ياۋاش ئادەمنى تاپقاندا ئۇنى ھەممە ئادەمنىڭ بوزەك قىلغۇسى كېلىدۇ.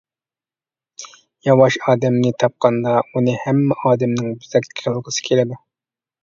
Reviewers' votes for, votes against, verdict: 0, 2, rejected